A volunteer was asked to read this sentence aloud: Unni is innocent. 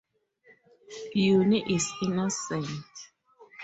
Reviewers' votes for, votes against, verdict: 2, 0, accepted